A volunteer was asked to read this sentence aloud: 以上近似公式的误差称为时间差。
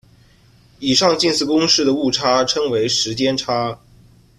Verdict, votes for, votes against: accepted, 2, 0